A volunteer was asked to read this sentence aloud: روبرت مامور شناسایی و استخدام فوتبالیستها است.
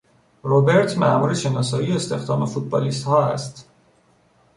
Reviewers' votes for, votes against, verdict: 2, 0, accepted